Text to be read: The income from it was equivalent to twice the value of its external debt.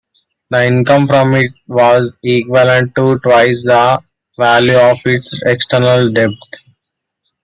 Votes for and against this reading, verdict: 0, 2, rejected